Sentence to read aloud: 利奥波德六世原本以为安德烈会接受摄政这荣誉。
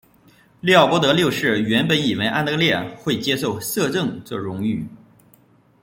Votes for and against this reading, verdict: 2, 0, accepted